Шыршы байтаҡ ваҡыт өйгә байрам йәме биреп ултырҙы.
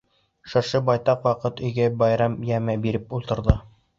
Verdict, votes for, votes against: accepted, 2, 0